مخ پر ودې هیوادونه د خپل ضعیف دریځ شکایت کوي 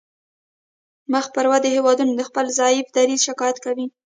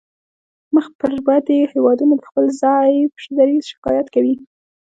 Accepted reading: second